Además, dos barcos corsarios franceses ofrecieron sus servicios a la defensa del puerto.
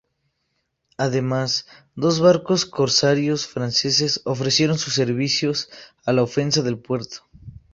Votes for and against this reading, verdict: 0, 2, rejected